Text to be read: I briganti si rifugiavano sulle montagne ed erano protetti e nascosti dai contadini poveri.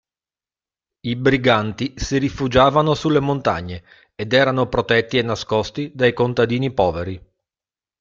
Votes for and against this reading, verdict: 2, 0, accepted